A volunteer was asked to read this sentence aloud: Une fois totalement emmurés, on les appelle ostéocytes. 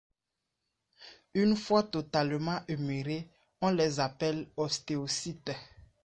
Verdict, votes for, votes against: rejected, 1, 2